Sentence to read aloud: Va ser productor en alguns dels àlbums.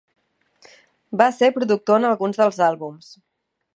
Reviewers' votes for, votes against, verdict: 3, 0, accepted